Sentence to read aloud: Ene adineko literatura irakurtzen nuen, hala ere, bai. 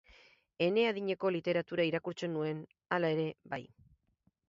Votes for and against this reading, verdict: 2, 2, rejected